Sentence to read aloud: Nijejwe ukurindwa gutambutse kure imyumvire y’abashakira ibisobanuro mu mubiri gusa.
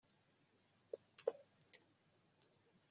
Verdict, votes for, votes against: rejected, 0, 2